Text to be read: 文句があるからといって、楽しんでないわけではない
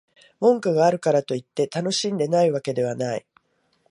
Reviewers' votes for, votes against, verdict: 2, 0, accepted